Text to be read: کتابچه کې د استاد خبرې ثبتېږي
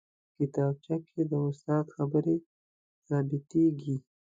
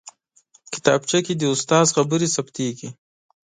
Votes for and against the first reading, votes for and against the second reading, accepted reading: 1, 2, 2, 0, second